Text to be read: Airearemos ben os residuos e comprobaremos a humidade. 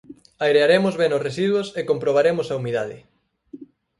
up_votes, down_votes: 4, 0